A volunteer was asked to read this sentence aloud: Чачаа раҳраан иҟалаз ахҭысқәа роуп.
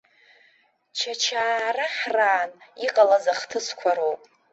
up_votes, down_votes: 2, 0